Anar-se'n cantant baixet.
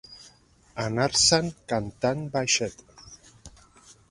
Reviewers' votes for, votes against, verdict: 3, 1, accepted